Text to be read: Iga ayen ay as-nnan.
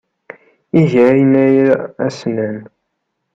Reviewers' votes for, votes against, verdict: 1, 2, rejected